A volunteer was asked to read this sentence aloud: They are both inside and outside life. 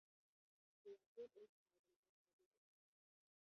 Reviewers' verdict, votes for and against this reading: rejected, 0, 2